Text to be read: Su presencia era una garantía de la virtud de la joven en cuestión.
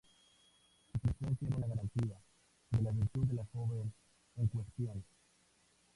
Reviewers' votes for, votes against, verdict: 0, 4, rejected